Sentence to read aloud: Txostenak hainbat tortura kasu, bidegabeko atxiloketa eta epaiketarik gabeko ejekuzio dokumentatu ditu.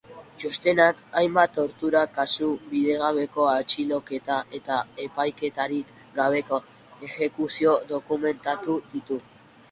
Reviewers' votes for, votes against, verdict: 2, 0, accepted